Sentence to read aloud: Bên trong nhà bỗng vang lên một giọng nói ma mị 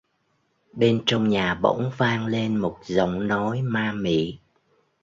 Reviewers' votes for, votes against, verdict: 2, 0, accepted